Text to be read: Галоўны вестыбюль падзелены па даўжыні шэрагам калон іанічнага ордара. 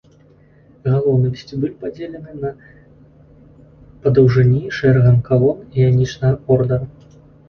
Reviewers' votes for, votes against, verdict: 0, 2, rejected